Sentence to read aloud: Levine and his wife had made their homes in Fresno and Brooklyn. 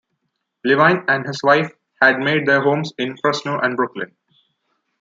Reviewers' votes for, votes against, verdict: 3, 0, accepted